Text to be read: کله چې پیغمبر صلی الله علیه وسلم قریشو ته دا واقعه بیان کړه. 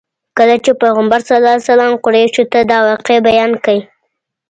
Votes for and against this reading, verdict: 1, 2, rejected